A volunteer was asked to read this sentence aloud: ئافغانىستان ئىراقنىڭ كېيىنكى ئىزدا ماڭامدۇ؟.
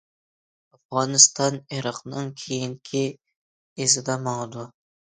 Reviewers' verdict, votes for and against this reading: rejected, 0, 2